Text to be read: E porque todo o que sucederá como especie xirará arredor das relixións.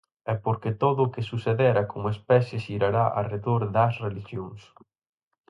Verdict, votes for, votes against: rejected, 0, 4